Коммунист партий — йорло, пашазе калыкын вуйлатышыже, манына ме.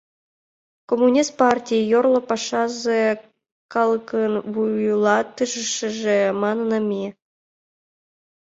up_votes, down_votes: 1, 3